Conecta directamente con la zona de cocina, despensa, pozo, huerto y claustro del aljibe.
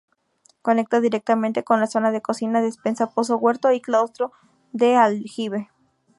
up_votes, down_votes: 2, 4